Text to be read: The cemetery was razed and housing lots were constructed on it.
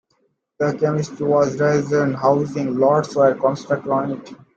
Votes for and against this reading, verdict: 1, 2, rejected